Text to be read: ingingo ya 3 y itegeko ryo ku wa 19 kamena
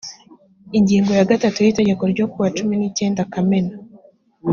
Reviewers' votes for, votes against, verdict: 0, 2, rejected